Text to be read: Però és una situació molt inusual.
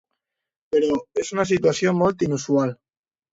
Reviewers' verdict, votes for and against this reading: accepted, 2, 0